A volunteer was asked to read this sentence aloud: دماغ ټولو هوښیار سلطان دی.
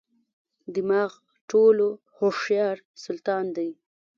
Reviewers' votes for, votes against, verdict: 0, 2, rejected